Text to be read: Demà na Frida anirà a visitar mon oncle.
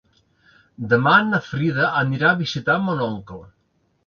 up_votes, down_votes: 3, 0